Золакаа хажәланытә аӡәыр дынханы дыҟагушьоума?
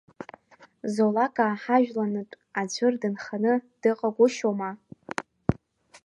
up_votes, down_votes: 1, 2